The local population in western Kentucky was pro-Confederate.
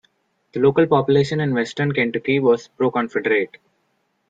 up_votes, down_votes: 2, 0